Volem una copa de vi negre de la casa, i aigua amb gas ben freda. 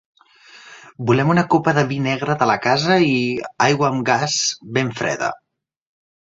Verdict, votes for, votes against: accepted, 2, 0